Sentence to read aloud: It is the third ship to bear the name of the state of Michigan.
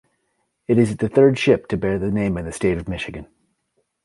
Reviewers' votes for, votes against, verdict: 2, 0, accepted